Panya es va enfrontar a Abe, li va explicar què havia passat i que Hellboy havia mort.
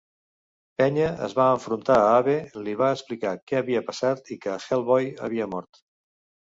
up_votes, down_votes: 0, 2